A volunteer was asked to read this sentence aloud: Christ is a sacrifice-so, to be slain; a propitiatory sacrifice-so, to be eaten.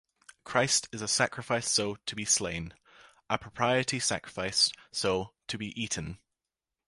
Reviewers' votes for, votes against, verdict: 2, 0, accepted